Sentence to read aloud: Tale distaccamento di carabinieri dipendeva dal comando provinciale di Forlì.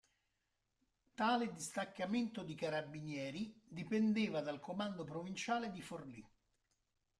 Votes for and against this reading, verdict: 1, 2, rejected